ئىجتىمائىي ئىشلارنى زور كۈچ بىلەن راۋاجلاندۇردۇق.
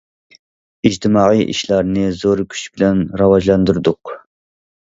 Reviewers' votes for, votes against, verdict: 2, 0, accepted